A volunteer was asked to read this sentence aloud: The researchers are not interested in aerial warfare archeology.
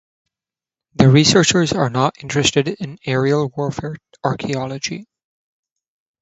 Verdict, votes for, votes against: accepted, 2, 0